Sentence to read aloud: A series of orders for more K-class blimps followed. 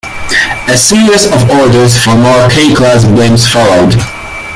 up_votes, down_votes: 2, 1